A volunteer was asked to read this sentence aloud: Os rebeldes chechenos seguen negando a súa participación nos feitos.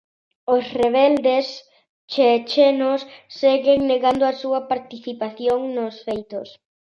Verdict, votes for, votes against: accepted, 2, 0